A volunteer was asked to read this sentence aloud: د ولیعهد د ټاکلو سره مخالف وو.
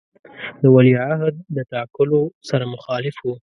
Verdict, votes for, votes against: rejected, 1, 2